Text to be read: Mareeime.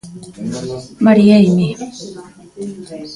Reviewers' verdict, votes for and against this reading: rejected, 1, 2